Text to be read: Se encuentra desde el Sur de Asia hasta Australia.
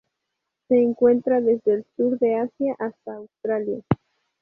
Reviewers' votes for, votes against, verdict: 2, 0, accepted